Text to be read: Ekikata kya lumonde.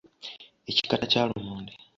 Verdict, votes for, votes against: accepted, 2, 0